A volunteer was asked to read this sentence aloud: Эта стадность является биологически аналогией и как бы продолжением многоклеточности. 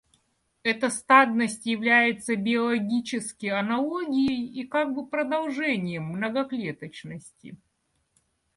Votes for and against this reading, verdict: 2, 0, accepted